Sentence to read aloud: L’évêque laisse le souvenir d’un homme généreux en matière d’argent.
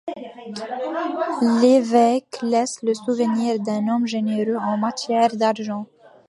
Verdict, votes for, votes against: accepted, 2, 0